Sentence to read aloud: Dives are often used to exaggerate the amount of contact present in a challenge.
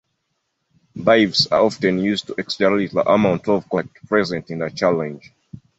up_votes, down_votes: 0, 2